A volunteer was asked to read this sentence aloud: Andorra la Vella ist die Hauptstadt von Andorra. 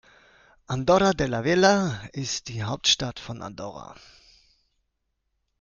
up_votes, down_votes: 1, 2